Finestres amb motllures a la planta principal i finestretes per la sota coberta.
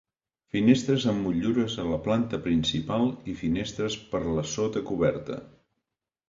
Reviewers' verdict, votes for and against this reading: rejected, 1, 2